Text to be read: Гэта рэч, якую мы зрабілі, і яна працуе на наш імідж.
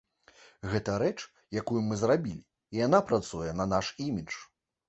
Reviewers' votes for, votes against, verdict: 2, 0, accepted